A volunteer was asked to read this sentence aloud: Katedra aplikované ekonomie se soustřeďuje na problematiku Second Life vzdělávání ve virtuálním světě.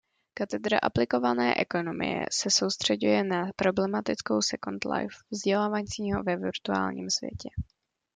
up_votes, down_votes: 0, 2